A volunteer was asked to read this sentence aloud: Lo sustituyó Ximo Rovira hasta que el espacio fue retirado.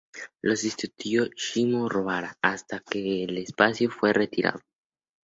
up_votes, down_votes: 2, 2